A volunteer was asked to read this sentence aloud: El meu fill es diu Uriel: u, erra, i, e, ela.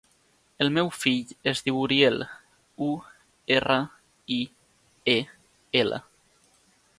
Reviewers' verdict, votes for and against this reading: accepted, 2, 0